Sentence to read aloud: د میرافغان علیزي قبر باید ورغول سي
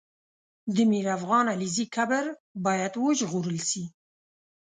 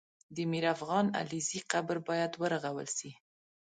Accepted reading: second